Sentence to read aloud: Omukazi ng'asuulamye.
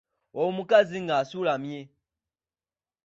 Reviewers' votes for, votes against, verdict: 2, 1, accepted